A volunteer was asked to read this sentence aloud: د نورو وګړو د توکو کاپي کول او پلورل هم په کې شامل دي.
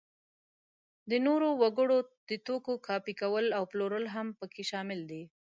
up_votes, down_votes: 2, 0